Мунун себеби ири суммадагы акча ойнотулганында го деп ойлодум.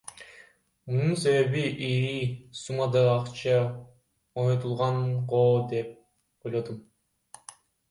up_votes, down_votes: 1, 2